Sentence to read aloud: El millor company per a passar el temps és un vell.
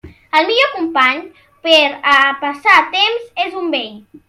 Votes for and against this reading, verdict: 1, 2, rejected